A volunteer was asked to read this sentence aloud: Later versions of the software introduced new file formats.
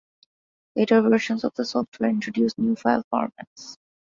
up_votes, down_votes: 2, 0